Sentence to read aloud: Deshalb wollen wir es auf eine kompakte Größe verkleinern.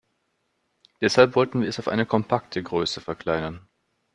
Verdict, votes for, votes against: rejected, 1, 2